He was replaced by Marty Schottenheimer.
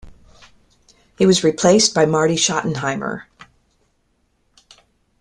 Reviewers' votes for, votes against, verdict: 2, 0, accepted